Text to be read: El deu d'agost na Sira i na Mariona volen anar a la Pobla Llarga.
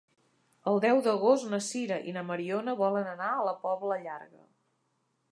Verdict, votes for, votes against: accepted, 2, 1